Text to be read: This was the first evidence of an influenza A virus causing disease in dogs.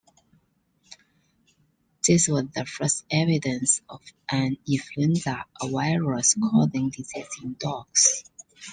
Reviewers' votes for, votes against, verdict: 0, 2, rejected